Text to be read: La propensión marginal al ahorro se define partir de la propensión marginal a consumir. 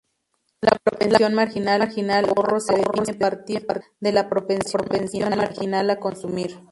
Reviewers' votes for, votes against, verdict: 0, 2, rejected